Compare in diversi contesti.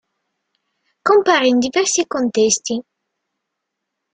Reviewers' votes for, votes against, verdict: 2, 0, accepted